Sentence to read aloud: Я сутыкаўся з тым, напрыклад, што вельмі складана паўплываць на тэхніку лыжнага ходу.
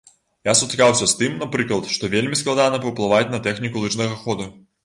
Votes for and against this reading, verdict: 2, 0, accepted